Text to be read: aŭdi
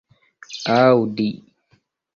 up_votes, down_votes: 2, 1